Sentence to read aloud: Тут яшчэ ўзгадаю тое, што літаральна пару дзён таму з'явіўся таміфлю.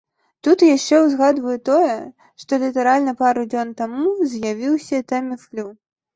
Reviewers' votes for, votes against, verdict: 1, 2, rejected